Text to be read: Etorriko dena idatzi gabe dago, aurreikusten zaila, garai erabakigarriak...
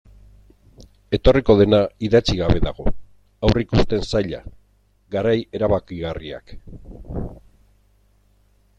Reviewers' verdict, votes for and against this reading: accepted, 2, 0